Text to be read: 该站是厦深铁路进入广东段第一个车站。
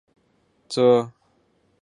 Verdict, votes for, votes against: rejected, 0, 4